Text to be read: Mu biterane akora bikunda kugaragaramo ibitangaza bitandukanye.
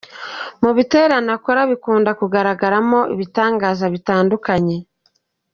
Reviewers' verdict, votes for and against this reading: accepted, 2, 0